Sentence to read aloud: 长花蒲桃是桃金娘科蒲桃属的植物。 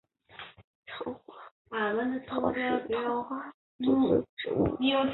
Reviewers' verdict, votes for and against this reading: accepted, 2, 1